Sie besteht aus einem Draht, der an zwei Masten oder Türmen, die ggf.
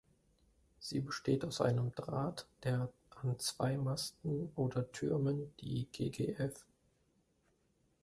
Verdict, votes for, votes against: rejected, 1, 2